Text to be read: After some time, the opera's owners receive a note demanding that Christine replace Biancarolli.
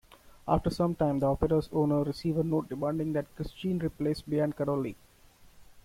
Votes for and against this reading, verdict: 2, 1, accepted